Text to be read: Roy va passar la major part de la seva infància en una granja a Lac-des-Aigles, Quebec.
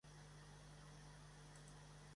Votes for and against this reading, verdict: 0, 2, rejected